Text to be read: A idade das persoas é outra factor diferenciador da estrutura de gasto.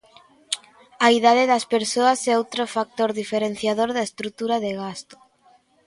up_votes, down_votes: 2, 0